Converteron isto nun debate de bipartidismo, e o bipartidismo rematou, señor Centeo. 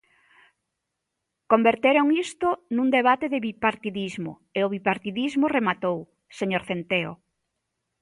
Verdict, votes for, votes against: accepted, 2, 0